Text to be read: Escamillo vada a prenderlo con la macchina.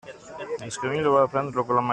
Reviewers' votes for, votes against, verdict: 0, 2, rejected